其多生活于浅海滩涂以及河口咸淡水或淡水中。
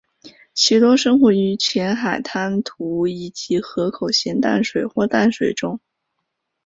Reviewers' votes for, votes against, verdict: 5, 0, accepted